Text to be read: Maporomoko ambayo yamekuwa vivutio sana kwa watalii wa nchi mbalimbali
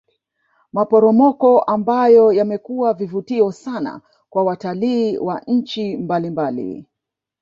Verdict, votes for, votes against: accepted, 2, 0